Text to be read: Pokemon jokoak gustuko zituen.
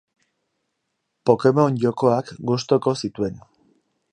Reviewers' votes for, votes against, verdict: 2, 2, rejected